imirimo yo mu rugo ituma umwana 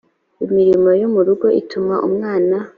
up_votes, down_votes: 2, 0